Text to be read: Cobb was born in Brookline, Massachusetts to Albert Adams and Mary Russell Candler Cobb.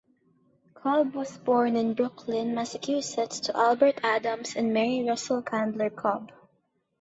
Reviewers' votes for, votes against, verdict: 2, 0, accepted